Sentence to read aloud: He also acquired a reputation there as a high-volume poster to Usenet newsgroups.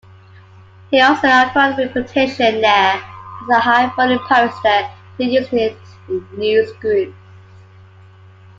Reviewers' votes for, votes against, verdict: 2, 1, accepted